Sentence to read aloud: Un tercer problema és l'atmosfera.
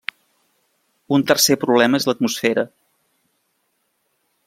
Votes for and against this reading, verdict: 3, 1, accepted